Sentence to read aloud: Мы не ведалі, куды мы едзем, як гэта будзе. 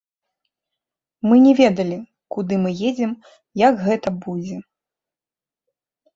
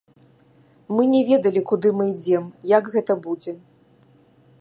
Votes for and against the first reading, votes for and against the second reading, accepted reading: 2, 0, 1, 2, first